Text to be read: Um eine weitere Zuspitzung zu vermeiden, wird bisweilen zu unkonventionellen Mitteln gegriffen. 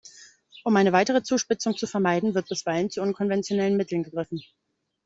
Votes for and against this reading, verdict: 2, 0, accepted